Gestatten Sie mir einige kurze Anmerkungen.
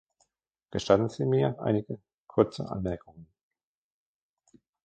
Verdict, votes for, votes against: rejected, 0, 2